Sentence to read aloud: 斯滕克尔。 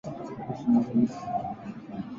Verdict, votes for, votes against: rejected, 0, 2